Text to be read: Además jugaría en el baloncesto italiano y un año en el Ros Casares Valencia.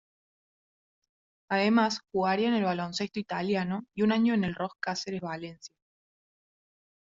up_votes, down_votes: 1, 2